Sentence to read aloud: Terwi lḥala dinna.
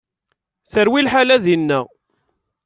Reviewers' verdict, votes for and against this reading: accepted, 2, 0